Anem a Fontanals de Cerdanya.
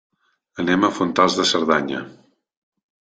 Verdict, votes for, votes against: rejected, 0, 2